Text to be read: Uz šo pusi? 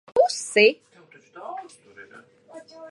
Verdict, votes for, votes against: rejected, 0, 2